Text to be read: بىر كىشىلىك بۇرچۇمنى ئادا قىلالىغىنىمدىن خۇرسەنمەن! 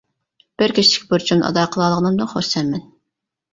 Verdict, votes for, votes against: rejected, 0, 2